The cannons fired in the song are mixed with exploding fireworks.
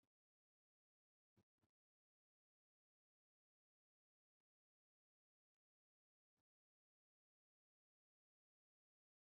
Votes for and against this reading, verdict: 0, 2, rejected